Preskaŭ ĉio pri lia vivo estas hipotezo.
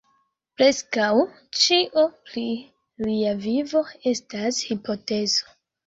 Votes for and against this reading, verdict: 0, 2, rejected